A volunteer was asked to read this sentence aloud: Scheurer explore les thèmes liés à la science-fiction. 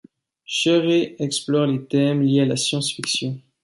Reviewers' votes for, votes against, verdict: 2, 1, accepted